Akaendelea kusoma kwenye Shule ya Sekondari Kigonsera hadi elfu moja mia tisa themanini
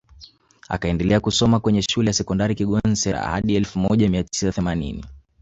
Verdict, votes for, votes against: rejected, 1, 2